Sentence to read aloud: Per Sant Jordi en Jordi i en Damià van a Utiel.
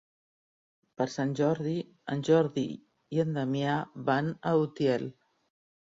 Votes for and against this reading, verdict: 2, 0, accepted